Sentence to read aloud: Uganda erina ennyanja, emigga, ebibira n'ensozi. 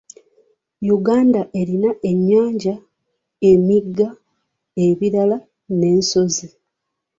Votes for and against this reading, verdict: 2, 3, rejected